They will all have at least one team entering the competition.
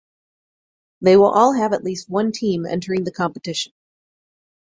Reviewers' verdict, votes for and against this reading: accepted, 4, 0